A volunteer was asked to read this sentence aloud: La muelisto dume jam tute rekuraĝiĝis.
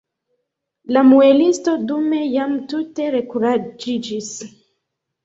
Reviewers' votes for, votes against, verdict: 1, 2, rejected